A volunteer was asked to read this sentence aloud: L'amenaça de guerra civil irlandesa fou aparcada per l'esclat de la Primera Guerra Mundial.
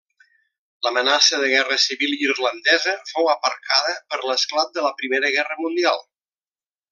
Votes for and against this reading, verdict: 3, 0, accepted